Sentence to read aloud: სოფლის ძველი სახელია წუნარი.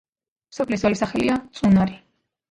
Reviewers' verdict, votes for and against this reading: accepted, 2, 1